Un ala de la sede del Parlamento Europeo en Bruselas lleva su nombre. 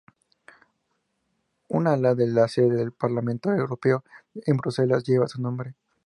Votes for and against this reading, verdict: 2, 0, accepted